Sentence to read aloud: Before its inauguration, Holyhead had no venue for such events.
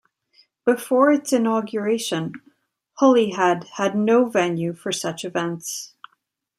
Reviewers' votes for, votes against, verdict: 2, 0, accepted